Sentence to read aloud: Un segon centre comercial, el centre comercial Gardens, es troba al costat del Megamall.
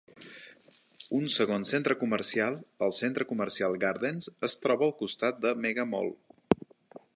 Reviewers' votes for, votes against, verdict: 2, 0, accepted